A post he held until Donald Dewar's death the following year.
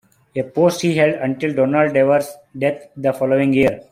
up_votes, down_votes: 2, 1